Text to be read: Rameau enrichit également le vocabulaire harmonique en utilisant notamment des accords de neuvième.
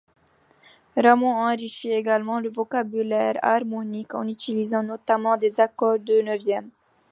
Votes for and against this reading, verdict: 2, 0, accepted